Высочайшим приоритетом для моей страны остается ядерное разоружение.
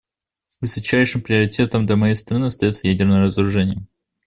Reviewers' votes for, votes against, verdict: 2, 0, accepted